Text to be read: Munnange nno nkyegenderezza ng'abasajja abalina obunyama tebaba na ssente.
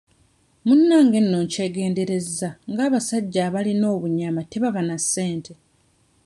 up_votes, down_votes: 1, 2